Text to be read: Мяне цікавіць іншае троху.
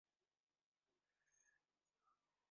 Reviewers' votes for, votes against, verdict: 0, 2, rejected